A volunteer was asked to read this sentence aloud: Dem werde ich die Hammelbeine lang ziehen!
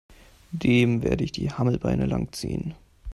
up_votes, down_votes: 2, 0